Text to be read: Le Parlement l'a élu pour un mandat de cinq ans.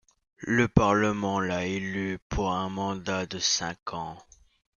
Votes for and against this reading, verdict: 2, 0, accepted